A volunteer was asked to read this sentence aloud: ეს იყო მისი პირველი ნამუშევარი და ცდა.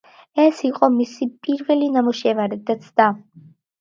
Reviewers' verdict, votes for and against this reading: accepted, 2, 1